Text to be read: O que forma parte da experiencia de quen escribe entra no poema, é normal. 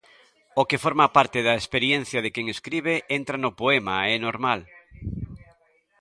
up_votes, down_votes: 1, 2